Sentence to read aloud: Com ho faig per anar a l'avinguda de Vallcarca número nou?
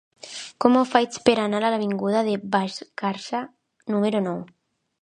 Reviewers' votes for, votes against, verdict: 2, 1, accepted